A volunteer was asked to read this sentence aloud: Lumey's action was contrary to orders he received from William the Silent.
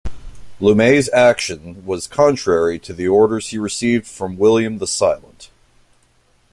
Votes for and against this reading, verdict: 1, 2, rejected